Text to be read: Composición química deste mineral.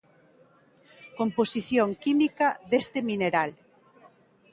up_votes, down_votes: 2, 0